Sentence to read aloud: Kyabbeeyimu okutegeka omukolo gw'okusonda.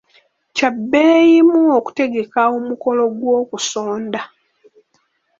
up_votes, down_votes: 2, 0